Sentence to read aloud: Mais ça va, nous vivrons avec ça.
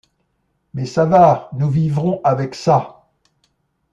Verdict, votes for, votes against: accepted, 2, 0